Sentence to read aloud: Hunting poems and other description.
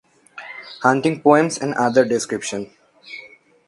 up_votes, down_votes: 2, 0